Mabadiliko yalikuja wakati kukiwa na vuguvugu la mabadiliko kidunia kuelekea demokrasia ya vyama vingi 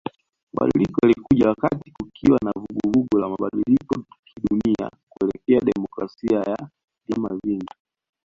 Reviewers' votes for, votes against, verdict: 0, 2, rejected